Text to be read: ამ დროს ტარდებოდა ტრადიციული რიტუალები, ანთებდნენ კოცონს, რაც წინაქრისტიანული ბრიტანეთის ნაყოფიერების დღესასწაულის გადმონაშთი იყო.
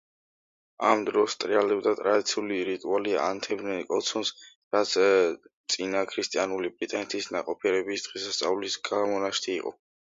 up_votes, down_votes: 0, 2